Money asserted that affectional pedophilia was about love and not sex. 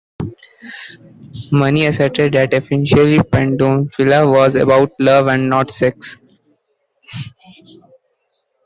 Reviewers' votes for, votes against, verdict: 0, 2, rejected